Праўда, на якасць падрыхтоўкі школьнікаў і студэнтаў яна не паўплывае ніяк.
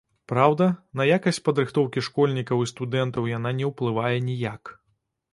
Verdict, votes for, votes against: rejected, 0, 2